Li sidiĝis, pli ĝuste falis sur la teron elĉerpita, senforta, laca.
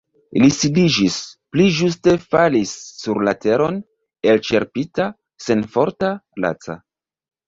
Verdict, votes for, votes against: rejected, 1, 2